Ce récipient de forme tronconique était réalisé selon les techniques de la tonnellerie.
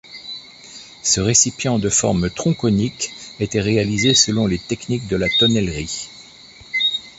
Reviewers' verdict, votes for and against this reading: accepted, 2, 1